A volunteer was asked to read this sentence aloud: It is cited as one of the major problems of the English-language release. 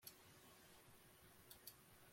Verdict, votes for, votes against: rejected, 0, 2